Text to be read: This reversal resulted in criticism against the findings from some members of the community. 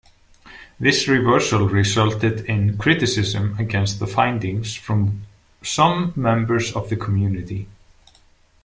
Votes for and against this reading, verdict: 2, 0, accepted